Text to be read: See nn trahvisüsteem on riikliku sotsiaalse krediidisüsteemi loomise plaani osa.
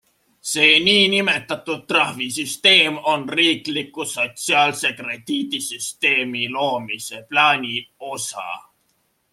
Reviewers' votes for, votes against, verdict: 2, 0, accepted